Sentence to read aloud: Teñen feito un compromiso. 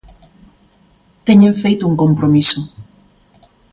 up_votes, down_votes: 2, 0